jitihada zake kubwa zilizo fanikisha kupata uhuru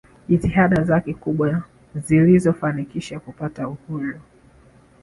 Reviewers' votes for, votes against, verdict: 3, 0, accepted